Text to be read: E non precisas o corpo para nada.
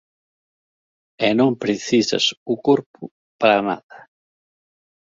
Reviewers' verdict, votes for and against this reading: accepted, 2, 0